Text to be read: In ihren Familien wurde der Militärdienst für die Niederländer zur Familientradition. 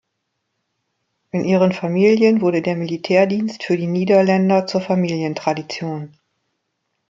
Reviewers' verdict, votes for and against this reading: accepted, 2, 0